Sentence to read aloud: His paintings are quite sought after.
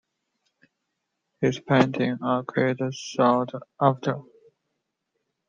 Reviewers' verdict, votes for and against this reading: rejected, 1, 2